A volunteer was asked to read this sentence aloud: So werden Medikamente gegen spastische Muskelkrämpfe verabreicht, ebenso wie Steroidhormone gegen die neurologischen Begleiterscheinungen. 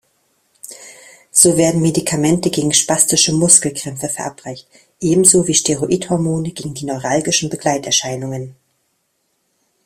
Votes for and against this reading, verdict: 1, 2, rejected